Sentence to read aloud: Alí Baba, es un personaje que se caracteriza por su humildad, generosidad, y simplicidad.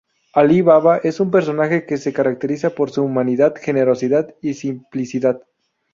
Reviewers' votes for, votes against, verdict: 0, 2, rejected